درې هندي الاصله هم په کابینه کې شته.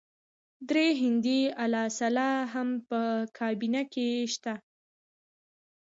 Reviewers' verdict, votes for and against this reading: rejected, 0, 2